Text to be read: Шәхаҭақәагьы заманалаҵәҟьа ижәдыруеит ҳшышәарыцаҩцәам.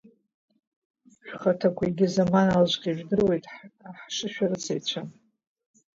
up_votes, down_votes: 1, 2